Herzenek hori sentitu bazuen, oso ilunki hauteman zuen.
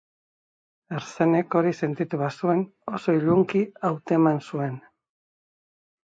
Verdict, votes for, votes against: accepted, 2, 0